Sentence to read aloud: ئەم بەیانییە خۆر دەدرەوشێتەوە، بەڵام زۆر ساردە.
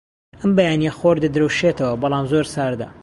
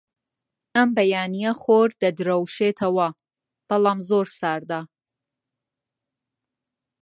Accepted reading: first